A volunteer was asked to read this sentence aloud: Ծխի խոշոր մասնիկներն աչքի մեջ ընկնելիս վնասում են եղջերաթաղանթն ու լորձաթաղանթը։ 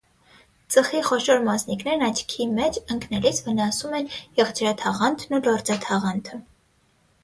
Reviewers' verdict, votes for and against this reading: accepted, 6, 3